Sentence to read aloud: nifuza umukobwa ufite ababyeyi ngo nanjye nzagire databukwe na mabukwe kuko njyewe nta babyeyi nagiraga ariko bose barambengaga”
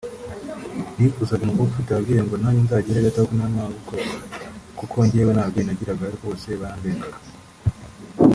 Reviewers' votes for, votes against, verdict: 1, 3, rejected